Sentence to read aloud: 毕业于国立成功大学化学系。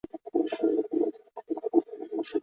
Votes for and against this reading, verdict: 0, 2, rejected